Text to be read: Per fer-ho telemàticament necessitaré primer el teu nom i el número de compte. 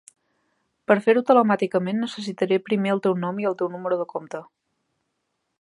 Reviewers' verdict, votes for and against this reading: rejected, 1, 2